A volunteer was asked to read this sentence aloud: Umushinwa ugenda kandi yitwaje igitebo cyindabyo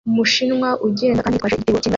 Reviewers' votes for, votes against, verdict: 0, 2, rejected